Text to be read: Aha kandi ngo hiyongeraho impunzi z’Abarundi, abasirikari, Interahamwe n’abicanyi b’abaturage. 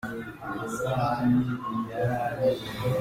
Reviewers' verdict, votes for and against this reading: rejected, 0, 2